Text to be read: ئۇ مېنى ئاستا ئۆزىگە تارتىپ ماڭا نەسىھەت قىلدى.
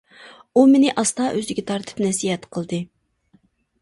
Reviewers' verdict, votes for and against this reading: rejected, 1, 2